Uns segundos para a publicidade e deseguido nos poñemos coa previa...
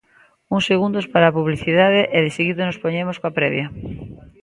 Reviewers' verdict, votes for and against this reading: accepted, 2, 0